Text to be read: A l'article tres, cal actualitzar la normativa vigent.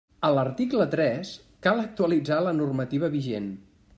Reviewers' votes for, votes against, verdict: 3, 0, accepted